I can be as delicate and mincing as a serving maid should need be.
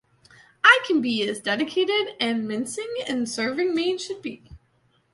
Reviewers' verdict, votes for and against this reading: rejected, 1, 2